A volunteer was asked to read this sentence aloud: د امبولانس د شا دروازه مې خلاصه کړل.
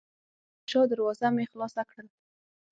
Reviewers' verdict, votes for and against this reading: rejected, 0, 6